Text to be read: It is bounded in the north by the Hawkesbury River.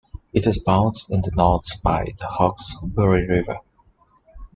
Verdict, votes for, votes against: rejected, 0, 2